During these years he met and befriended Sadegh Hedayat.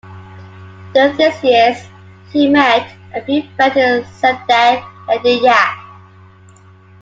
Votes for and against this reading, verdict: 0, 2, rejected